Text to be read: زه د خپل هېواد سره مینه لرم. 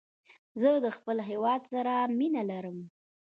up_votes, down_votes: 2, 1